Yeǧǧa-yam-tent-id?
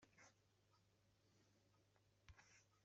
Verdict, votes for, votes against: rejected, 0, 2